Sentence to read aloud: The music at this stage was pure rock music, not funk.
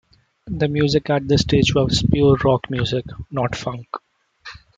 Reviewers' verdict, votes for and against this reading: accepted, 2, 1